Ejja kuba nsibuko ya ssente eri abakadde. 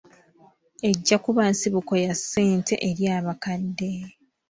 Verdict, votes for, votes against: accepted, 2, 0